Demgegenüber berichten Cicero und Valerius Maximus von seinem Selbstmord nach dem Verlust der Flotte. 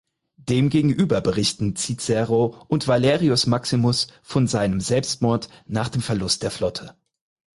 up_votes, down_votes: 6, 0